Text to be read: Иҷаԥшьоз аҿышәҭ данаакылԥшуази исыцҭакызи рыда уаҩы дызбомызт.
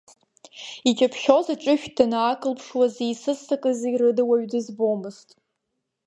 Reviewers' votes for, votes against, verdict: 0, 2, rejected